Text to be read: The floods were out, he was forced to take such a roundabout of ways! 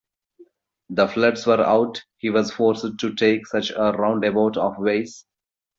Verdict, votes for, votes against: accepted, 2, 1